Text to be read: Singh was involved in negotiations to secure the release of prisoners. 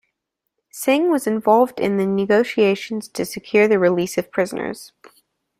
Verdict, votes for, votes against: rejected, 0, 2